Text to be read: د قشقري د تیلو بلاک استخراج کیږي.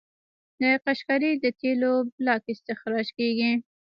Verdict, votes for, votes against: accepted, 2, 0